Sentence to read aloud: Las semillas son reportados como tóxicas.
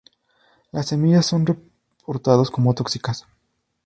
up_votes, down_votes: 0, 2